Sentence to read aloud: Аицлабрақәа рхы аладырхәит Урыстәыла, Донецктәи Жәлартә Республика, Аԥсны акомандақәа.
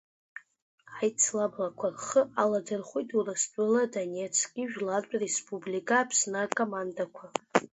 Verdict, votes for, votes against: accepted, 2, 1